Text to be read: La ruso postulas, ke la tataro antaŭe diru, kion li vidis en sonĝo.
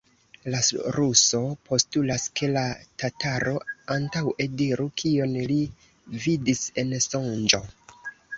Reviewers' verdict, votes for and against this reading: rejected, 1, 2